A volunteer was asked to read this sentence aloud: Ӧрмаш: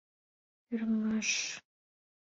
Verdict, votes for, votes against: accepted, 2, 0